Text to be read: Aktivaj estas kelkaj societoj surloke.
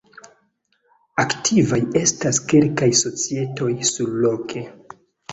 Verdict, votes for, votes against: accepted, 2, 1